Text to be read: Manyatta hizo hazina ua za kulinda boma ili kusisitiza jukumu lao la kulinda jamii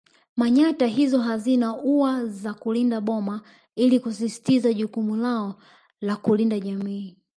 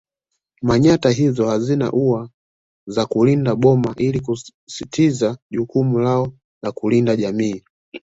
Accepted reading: second